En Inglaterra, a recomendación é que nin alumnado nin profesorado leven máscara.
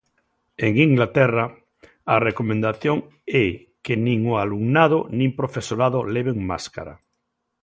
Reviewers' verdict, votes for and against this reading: rejected, 1, 2